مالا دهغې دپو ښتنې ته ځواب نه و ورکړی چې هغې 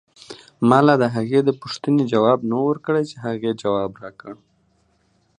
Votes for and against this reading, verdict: 2, 1, accepted